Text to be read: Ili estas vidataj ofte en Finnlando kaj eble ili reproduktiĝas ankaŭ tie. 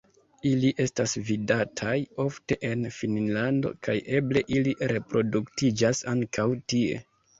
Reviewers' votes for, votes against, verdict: 2, 0, accepted